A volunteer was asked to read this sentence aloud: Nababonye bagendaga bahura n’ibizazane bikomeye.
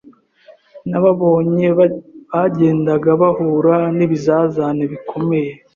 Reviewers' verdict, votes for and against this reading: rejected, 0, 2